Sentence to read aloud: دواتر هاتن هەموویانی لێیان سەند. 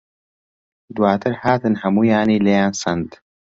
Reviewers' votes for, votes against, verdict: 2, 0, accepted